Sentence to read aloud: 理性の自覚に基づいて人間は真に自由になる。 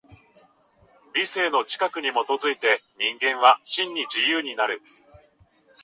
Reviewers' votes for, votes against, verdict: 2, 0, accepted